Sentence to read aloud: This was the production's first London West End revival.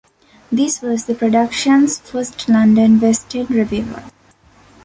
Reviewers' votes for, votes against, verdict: 1, 2, rejected